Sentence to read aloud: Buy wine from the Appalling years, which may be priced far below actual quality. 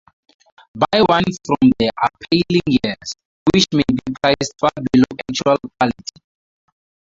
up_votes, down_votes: 0, 2